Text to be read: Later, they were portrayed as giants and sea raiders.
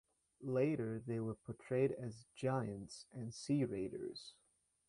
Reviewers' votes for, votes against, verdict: 0, 2, rejected